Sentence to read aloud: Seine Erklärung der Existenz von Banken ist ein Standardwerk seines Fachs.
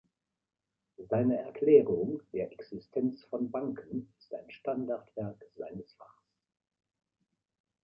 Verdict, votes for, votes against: rejected, 1, 2